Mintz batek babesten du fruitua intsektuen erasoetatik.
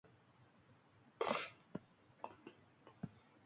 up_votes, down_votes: 0, 2